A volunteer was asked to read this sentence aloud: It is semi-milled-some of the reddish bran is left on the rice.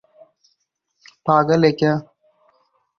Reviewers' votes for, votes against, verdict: 0, 4, rejected